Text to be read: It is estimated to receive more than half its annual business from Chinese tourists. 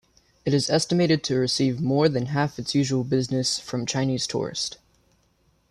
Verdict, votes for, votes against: rejected, 1, 2